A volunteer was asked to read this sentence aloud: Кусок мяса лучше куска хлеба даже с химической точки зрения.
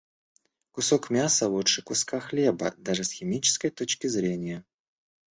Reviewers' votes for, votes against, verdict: 2, 0, accepted